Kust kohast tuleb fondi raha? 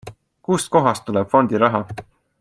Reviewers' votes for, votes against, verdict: 2, 0, accepted